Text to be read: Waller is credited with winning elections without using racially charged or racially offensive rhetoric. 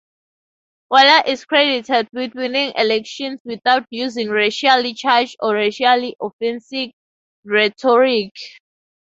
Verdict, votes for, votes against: rejected, 8, 8